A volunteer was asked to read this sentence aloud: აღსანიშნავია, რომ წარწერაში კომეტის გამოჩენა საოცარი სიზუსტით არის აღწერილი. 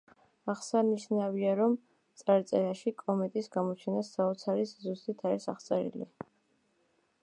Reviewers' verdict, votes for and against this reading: accepted, 2, 1